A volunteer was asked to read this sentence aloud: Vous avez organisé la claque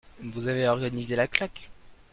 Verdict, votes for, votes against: accepted, 2, 0